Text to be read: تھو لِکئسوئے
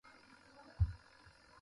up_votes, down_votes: 0, 2